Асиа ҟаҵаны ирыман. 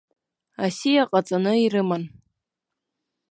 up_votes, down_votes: 2, 0